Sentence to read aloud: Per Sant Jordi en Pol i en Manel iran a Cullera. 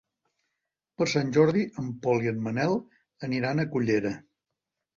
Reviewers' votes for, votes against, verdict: 0, 2, rejected